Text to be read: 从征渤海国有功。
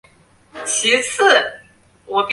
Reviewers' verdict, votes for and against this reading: rejected, 0, 3